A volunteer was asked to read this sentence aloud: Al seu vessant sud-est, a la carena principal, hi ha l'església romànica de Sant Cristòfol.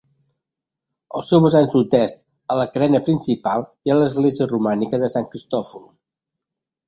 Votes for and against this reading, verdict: 2, 1, accepted